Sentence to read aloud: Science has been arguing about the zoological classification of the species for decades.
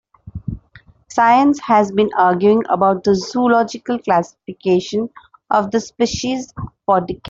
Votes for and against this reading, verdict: 0, 3, rejected